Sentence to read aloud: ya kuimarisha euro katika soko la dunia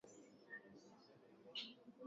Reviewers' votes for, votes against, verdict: 0, 2, rejected